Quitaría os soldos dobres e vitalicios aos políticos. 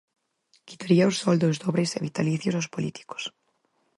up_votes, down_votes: 4, 0